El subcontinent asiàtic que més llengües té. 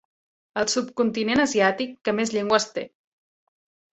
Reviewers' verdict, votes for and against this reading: accepted, 3, 0